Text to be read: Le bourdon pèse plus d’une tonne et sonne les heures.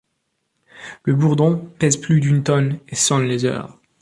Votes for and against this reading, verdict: 2, 0, accepted